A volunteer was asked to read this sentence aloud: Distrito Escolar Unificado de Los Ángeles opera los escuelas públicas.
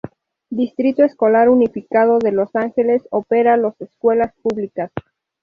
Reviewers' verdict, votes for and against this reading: accepted, 2, 0